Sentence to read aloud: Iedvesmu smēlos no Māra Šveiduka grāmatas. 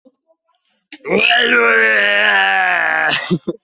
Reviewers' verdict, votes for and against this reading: rejected, 0, 2